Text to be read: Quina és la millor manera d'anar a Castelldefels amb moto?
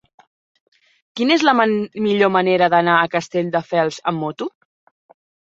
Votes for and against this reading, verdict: 0, 2, rejected